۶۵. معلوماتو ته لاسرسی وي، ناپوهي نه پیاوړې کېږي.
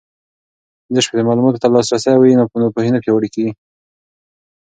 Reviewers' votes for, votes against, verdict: 0, 2, rejected